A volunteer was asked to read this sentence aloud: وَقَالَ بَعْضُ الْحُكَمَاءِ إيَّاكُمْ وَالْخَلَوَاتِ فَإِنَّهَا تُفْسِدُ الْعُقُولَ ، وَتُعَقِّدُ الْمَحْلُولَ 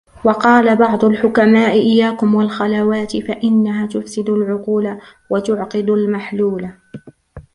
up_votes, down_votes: 0, 2